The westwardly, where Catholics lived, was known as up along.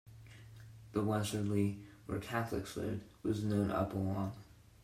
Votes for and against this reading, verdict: 2, 0, accepted